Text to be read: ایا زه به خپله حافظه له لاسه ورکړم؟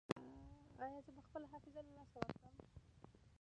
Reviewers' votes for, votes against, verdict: 1, 2, rejected